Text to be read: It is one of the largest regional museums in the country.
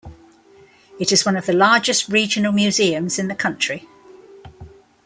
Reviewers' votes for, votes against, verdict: 2, 0, accepted